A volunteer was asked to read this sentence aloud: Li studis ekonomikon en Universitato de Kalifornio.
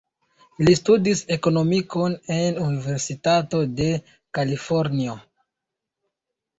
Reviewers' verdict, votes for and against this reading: rejected, 0, 2